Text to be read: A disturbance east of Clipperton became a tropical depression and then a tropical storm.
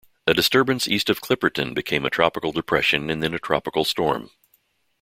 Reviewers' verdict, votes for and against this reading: accepted, 2, 0